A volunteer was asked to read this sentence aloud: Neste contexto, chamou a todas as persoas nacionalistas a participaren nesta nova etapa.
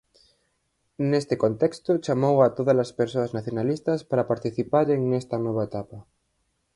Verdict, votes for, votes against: rejected, 0, 4